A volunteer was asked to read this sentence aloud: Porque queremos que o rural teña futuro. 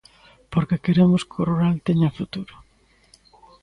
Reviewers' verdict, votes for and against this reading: accepted, 2, 0